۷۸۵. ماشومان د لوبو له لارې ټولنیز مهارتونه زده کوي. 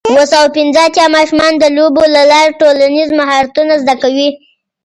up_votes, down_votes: 0, 2